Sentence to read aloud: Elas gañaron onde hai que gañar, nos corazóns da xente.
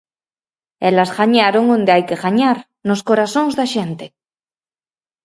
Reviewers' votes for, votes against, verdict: 4, 0, accepted